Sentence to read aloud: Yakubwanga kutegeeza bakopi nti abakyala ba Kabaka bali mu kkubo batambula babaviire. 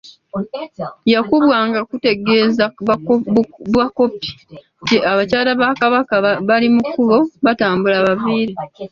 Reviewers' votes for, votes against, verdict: 2, 1, accepted